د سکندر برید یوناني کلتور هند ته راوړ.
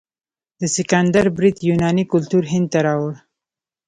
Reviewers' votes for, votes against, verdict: 1, 2, rejected